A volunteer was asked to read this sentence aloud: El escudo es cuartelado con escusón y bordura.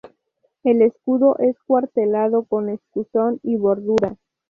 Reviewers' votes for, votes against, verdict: 2, 0, accepted